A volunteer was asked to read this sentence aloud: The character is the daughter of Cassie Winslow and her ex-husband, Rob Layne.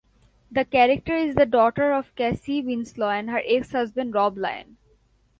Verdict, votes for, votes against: accepted, 2, 0